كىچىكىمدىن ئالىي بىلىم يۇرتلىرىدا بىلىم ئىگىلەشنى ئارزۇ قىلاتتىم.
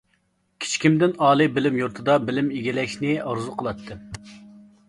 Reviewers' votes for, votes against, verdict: 0, 2, rejected